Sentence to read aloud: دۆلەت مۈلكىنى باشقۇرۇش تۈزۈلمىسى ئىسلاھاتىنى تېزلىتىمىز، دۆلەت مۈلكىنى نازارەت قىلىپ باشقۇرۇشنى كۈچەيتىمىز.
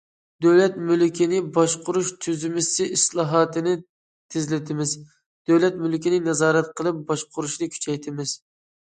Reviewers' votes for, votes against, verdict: 0, 2, rejected